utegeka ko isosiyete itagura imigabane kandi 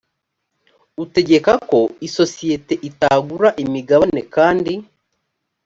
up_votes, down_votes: 2, 0